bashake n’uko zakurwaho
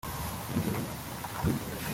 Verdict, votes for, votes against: rejected, 0, 2